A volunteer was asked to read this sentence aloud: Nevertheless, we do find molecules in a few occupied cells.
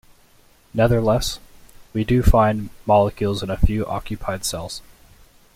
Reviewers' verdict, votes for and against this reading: rejected, 0, 2